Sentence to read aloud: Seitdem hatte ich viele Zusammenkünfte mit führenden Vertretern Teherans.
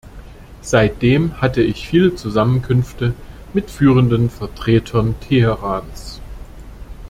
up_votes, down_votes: 2, 0